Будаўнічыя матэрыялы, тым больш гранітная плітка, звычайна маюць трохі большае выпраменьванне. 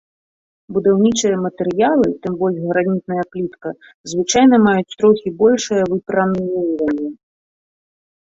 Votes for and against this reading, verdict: 1, 2, rejected